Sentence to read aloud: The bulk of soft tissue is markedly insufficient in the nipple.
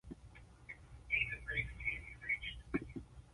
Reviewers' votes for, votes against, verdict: 1, 2, rejected